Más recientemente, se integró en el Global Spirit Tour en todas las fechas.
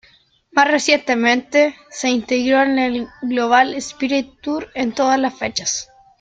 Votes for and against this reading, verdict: 2, 0, accepted